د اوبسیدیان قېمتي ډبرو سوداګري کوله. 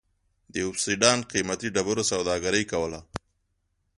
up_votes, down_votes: 2, 0